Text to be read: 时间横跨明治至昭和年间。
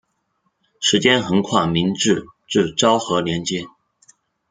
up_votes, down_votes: 1, 2